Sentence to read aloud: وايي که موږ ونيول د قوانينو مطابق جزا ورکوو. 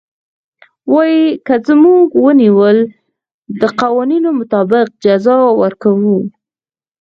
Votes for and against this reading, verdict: 4, 2, accepted